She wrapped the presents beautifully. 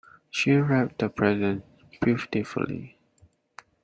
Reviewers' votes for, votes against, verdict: 0, 2, rejected